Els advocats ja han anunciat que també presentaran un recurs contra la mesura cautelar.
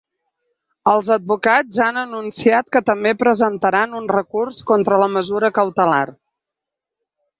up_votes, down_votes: 2, 0